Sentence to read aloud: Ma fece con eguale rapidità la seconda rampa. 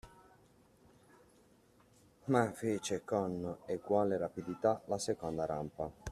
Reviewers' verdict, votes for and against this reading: rejected, 1, 2